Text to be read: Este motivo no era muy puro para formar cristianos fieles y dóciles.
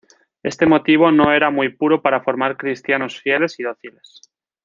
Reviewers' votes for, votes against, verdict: 1, 2, rejected